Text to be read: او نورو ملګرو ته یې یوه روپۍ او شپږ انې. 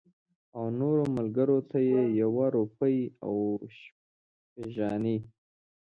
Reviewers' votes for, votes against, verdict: 2, 1, accepted